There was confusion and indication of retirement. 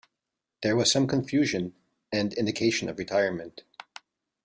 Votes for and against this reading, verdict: 0, 2, rejected